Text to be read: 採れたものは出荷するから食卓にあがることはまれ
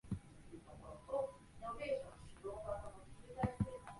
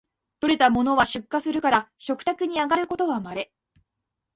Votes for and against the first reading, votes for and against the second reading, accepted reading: 1, 4, 2, 0, second